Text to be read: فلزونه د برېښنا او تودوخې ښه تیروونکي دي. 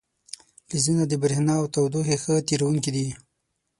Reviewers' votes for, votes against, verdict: 6, 0, accepted